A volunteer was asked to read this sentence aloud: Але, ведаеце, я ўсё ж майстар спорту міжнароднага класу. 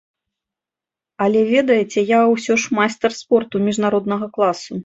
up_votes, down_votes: 2, 0